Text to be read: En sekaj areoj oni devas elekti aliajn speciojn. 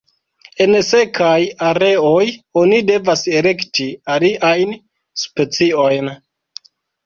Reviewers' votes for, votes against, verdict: 0, 2, rejected